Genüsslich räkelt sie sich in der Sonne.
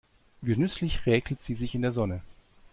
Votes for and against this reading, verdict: 2, 0, accepted